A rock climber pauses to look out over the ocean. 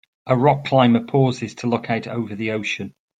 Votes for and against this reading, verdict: 2, 0, accepted